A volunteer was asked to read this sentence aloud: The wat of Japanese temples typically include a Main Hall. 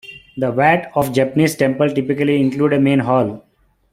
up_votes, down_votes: 1, 2